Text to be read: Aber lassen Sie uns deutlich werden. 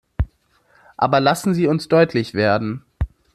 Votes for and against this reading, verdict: 2, 0, accepted